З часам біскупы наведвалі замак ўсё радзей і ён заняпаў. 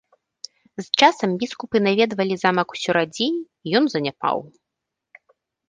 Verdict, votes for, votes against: accepted, 2, 0